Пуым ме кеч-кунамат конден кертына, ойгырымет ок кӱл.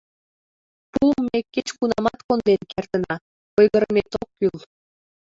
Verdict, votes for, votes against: rejected, 0, 2